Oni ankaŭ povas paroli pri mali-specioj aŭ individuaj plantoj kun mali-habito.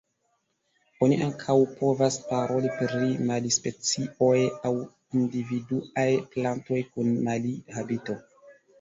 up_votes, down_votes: 0, 2